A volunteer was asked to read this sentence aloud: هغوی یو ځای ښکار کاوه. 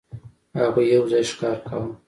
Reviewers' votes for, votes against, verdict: 4, 0, accepted